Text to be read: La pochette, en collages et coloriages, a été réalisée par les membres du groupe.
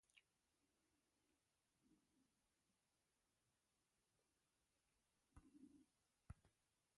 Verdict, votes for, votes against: rejected, 0, 2